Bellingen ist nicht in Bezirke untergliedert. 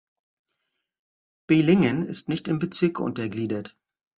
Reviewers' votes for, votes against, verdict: 1, 2, rejected